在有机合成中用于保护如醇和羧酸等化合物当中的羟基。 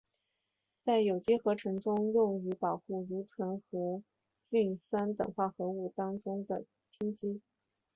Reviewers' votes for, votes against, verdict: 2, 0, accepted